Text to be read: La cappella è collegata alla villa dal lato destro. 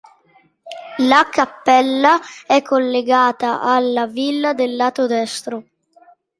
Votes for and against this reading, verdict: 2, 1, accepted